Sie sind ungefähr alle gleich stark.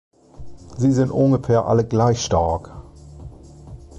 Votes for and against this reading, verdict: 2, 2, rejected